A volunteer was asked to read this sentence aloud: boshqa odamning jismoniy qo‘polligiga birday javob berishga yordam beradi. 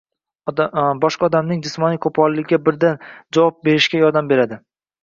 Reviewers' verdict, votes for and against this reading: rejected, 0, 2